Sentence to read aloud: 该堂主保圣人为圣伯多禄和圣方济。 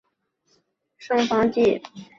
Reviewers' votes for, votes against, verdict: 2, 4, rejected